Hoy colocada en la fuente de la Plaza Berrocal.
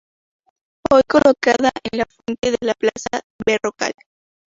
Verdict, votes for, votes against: rejected, 0, 2